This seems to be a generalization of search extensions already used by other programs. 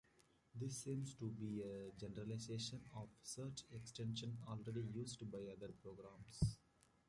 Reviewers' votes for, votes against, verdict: 1, 2, rejected